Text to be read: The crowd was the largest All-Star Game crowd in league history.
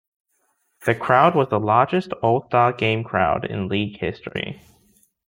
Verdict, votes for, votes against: accepted, 2, 0